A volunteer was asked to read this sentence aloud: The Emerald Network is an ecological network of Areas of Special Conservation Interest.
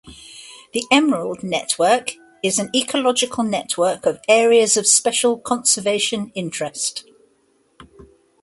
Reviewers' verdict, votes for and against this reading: accepted, 2, 0